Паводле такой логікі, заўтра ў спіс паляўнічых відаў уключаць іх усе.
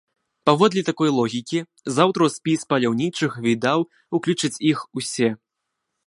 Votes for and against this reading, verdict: 1, 2, rejected